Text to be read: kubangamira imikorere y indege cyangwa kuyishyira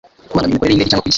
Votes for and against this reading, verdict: 1, 2, rejected